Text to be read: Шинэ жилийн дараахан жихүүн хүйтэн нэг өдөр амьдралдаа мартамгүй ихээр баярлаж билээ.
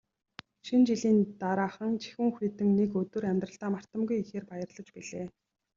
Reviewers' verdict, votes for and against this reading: accepted, 2, 0